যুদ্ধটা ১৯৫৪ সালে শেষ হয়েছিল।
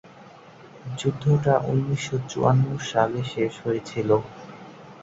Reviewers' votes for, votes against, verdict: 0, 2, rejected